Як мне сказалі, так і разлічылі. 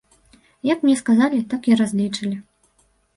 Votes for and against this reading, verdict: 0, 2, rejected